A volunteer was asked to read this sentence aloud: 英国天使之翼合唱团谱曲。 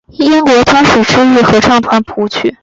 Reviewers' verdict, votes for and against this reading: rejected, 1, 3